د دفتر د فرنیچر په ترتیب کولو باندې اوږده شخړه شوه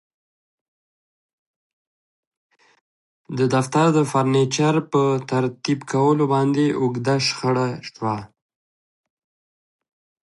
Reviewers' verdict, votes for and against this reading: accepted, 2, 0